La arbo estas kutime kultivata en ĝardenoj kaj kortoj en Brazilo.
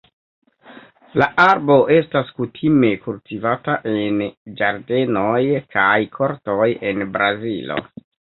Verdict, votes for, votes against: rejected, 1, 2